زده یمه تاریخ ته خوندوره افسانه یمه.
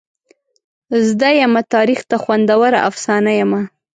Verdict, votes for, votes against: accepted, 2, 0